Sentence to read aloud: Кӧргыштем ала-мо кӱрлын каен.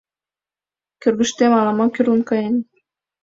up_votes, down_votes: 2, 1